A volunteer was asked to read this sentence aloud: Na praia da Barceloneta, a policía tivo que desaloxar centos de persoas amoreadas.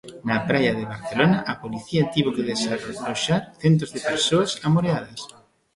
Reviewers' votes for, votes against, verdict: 0, 2, rejected